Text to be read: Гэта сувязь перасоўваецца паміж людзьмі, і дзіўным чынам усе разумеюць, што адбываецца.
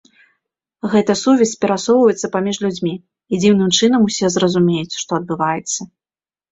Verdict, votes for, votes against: rejected, 1, 2